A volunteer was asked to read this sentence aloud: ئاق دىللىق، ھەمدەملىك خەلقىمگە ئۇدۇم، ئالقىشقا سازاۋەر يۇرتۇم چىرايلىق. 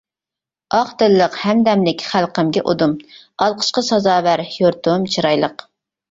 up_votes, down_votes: 2, 0